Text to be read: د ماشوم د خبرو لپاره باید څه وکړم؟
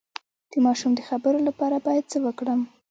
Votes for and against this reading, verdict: 1, 2, rejected